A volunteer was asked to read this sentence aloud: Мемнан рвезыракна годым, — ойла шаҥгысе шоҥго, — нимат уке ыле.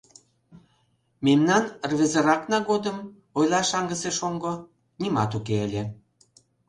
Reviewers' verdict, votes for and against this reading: accepted, 2, 0